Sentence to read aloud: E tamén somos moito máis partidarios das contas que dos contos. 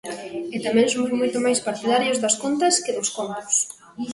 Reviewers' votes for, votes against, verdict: 0, 2, rejected